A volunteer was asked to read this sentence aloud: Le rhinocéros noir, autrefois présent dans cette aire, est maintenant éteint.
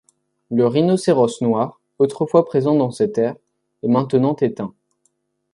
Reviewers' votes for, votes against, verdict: 2, 0, accepted